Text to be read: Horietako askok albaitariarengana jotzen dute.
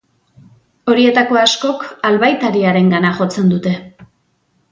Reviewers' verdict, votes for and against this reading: accepted, 2, 0